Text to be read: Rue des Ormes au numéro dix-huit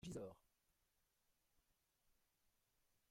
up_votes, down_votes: 0, 2